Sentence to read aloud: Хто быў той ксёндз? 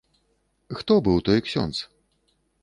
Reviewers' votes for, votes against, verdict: 2, 0, accepted